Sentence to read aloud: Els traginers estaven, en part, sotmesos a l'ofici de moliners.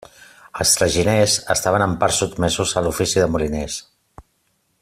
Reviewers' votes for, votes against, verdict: 2, 0, accepted